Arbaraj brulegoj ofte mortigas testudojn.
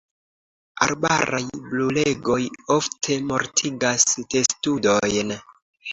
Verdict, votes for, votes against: accepted, 2, 0